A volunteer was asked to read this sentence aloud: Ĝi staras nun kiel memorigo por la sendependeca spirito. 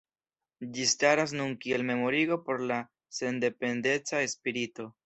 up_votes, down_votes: 2, 0